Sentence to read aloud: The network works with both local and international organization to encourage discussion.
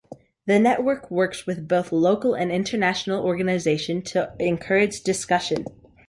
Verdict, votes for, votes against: accepted, 3, 0